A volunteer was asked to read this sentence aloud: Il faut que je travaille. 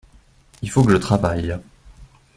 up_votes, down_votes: 2, 1